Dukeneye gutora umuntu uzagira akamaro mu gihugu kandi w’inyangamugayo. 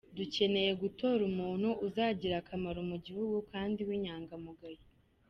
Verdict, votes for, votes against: accepted, 2, 1